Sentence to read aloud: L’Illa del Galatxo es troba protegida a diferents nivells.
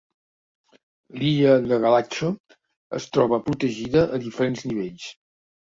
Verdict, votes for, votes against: rejected, 0, 2